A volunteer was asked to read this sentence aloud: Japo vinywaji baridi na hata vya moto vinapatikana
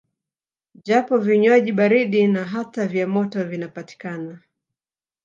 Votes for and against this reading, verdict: 3, 0, accepted